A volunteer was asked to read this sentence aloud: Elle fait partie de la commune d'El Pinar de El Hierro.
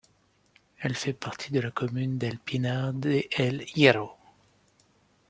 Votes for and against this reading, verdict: 2, 1, accepted